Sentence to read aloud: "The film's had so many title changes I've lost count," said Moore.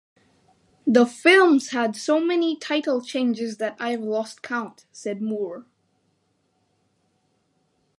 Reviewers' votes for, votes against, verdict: 0, 4, rejected